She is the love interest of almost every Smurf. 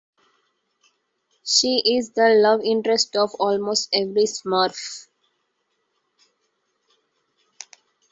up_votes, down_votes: 2, 0